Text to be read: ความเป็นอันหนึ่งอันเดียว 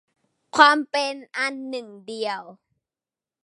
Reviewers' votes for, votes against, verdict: 2, 0, accepted